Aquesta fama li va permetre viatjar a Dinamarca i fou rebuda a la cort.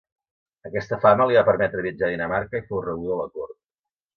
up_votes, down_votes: 2, 0